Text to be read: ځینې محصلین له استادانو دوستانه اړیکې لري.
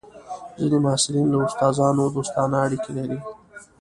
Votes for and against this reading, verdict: 0, 2, rejected